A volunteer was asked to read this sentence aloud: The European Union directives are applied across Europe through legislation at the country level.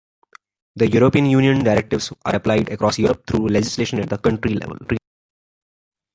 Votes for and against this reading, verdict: 2, 1, accepted